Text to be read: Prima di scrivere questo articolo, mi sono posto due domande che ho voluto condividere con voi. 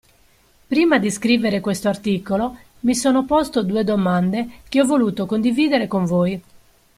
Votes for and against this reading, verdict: 2, 0, accepted